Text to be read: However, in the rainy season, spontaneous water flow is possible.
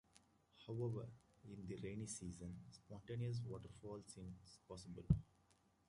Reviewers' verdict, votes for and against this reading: accepted, 2, 1